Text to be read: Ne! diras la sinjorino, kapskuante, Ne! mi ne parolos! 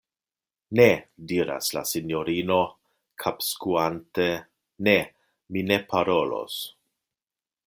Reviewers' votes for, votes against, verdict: 2, 0, accepted